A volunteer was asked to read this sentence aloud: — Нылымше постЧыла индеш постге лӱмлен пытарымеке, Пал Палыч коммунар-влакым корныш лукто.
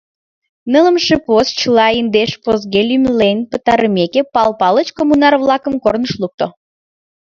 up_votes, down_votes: 1, 2